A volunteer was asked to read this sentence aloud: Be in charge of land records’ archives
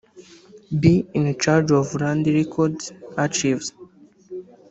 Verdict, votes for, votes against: rejected, 0, 2